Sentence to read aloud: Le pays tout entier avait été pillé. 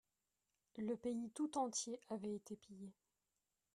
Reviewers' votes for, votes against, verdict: 2, 0, accepted